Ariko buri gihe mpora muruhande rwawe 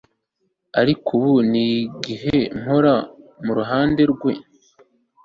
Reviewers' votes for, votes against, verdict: 1, 2, rejected